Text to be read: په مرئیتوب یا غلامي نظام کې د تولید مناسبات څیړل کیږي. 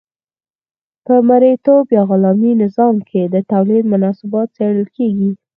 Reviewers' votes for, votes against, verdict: 2, 4, rejected